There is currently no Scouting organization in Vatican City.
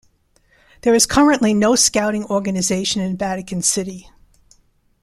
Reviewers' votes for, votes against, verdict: 2, 0, accepted